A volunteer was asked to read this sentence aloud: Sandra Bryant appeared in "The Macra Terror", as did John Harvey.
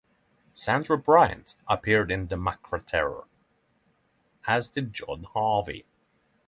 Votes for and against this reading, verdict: 3, 0, accepted